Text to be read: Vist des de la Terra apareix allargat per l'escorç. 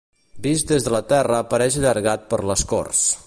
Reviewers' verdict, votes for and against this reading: rejected, 1, 2